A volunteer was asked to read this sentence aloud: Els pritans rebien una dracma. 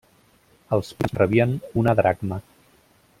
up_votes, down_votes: 0, 2